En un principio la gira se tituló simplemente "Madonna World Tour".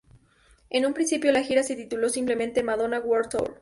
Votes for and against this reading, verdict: 6, 0, accepted